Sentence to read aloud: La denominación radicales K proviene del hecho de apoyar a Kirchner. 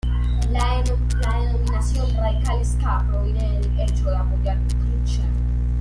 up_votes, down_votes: 0, 2